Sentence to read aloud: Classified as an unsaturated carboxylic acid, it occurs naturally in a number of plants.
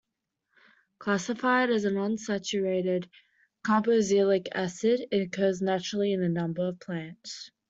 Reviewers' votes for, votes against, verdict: 1, 2, rejected